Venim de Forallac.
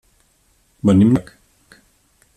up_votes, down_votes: 1, 2